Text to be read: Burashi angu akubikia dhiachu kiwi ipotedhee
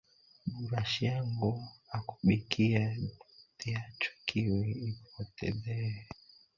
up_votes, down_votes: 1, 2